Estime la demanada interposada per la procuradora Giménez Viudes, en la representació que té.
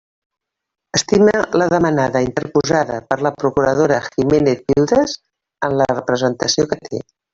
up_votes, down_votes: 1, 2